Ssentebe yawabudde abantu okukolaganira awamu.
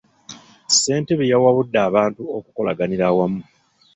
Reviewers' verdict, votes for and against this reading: accepted, 2, 0